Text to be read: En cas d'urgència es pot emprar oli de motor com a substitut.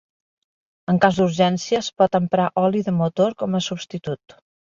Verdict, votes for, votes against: accepted, 3, 0